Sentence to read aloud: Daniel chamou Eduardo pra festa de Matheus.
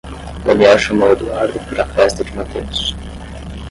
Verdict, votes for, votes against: rejected, 5, 5